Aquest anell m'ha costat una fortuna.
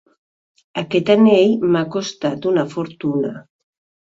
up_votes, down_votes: 2, 0